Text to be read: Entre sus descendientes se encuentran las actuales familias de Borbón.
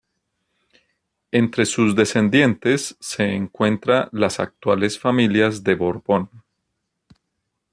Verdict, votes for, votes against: rejected, 0, 2